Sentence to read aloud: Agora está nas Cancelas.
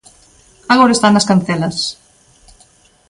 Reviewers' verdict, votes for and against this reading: accepted, 2, 0